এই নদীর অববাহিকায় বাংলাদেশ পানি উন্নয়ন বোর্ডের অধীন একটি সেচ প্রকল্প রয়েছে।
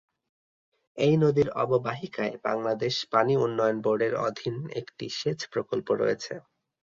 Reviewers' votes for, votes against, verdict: 2, 0, accepted